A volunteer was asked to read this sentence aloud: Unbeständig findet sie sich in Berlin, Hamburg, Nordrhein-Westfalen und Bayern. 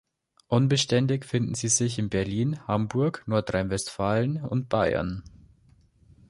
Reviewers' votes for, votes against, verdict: 1, 2, rejected